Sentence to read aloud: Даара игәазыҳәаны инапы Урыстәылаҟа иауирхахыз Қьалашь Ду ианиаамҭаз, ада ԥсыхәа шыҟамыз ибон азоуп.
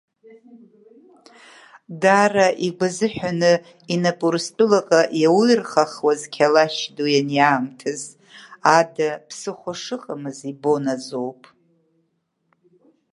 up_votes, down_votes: 0, 2